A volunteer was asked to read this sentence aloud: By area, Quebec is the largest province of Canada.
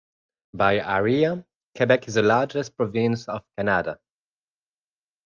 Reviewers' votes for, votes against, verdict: 1, 2, rejected